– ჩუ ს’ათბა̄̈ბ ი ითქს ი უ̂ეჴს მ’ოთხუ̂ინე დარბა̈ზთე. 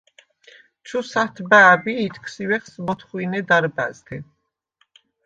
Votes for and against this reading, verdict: 2, 0, accepted